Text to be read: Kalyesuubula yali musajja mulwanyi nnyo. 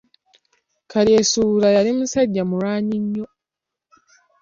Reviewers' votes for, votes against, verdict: 2, 0, accepted